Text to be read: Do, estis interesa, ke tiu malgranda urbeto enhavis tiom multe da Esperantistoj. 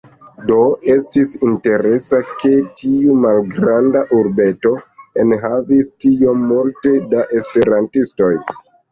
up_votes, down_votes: 2, 0